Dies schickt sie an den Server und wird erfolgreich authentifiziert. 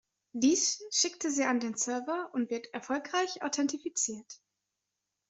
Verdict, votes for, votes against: rejected, 1, 2